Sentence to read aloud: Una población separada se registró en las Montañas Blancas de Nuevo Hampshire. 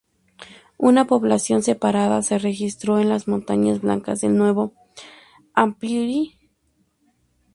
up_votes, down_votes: 0, 2